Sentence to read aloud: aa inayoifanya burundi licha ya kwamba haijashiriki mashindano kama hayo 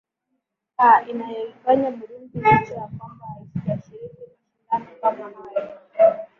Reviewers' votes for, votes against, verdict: 0, 4, rejected